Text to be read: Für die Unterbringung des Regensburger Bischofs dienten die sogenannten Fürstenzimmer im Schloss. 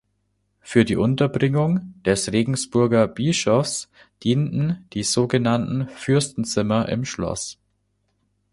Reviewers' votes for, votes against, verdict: 2, 0, accepted